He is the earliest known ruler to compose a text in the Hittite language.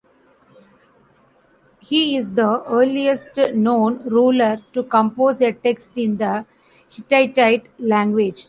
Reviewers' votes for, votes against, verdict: 1, 2, rejected